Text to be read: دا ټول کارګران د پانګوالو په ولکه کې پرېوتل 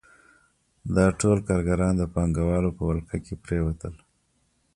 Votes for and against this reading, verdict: 2, 0, accepted